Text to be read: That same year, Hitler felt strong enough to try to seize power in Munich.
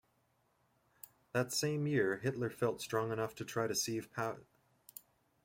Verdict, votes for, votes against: rejected, 0, 2